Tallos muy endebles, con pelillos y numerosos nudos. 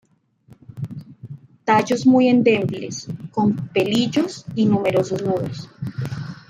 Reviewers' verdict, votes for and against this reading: rejected, 1, 2